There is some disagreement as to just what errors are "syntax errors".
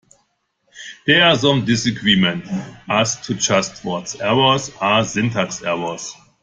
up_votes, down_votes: 1, 2